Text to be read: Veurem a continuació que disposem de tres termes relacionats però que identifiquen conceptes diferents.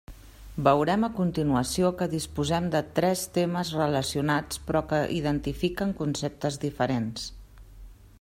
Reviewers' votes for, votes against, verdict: 0, 2, rejected